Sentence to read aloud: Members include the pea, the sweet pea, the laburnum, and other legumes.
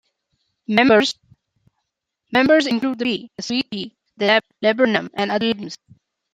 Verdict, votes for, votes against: rejected, 0, 2